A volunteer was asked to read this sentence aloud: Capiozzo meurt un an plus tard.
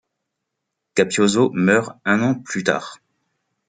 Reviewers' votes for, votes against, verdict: 2, 0, accepted